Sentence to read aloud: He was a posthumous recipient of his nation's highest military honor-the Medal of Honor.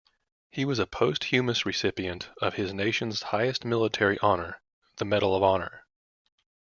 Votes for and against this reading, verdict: 2, 0, accepted